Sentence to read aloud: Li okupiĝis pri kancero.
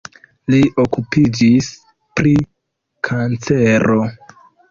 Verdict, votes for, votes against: rejected, 1, 2